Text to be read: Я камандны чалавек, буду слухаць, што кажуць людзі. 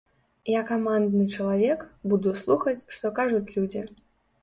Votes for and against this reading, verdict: 2, 0, accepted